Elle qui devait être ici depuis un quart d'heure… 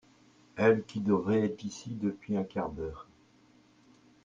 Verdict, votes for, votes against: rejected, 1, 2